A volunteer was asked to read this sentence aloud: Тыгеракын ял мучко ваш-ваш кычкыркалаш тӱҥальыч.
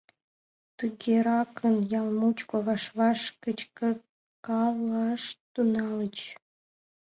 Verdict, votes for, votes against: rejected, 0, 2